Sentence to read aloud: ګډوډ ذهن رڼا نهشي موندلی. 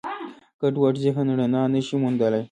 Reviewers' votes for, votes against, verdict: 2, 0, accepted